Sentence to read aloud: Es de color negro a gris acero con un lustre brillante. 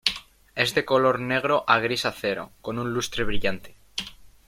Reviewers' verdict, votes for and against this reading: accepted, 2, 0